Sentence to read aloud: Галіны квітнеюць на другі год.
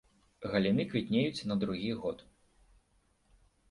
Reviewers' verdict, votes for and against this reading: accepted, 2, 1